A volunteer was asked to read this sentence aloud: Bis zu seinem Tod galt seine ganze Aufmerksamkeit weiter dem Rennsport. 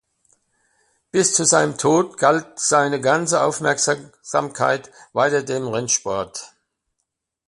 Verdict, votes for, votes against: rejected, 0, 2